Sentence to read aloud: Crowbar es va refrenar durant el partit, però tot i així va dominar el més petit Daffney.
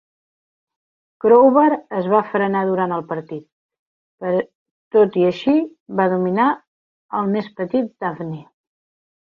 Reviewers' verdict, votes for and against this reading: rejected, 1, 3